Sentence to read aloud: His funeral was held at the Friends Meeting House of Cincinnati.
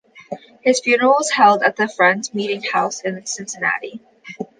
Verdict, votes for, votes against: accepted, 2, 1